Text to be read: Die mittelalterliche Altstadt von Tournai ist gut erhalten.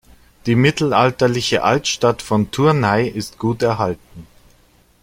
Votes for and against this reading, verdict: 2, 0, accepted